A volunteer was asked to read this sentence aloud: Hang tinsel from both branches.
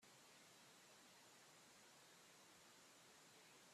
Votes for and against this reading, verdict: 0, 2, rejected